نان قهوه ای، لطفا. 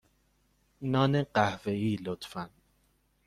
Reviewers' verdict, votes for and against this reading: accepted, 2, 0